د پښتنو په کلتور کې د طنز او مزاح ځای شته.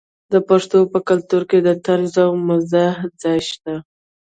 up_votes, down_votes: 2, 0